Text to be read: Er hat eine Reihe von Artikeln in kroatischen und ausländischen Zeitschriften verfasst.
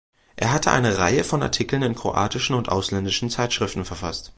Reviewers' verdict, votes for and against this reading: rejected, 0, 2